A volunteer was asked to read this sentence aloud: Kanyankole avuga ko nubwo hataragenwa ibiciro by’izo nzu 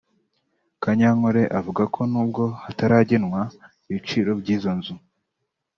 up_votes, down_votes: 2, 0